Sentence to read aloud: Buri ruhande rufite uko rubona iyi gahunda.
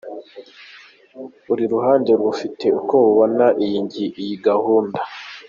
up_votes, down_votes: 1, 2